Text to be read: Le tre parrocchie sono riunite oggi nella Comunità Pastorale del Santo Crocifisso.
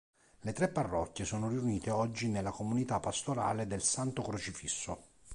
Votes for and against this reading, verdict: 2, 0, accepted